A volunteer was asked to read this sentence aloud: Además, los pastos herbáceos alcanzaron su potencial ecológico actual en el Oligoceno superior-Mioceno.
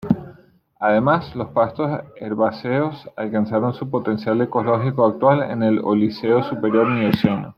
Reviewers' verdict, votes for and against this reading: rejected, 1, 2